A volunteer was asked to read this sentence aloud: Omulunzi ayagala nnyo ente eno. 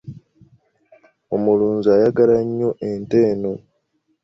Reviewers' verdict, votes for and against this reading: accepted, 2, 0